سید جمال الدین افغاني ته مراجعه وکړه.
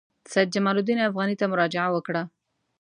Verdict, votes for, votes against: accepted, 2, 0